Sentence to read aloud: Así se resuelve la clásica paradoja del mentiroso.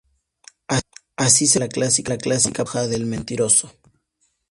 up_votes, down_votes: 0, 2